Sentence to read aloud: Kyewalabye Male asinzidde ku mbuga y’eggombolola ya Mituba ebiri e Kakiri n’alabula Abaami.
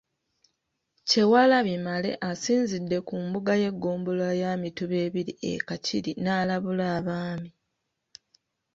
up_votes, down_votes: 3, 0